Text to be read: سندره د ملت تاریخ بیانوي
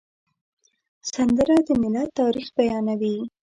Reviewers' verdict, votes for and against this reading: accepted, 2, 0